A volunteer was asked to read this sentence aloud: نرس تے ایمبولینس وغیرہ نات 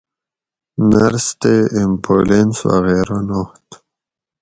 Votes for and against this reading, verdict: 4, 0, accepted